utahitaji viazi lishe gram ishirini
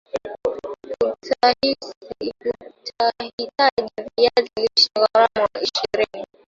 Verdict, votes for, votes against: rejected, 1, 2